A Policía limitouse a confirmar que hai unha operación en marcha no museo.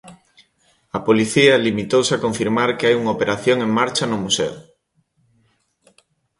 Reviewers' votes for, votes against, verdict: 2, 0, accepted